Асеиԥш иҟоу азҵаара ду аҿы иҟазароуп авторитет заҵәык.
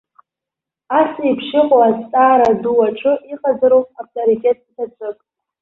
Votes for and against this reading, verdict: 1, 2, rejected